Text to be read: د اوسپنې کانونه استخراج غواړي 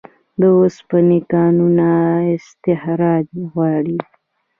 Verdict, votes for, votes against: accepted, 2, 0